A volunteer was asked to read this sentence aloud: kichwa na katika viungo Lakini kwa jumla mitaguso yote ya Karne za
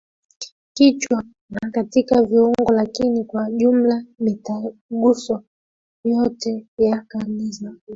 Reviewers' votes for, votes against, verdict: 2, 1, accepted